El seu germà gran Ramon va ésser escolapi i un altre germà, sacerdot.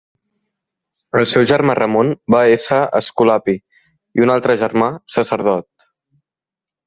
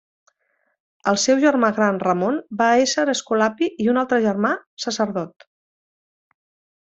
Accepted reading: second